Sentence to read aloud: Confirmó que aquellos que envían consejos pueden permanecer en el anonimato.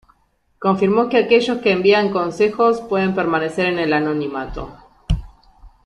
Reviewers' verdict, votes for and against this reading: rejected, 1, 2